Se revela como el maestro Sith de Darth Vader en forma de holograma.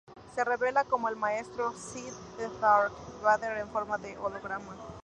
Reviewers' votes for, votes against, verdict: 0, 2, rejected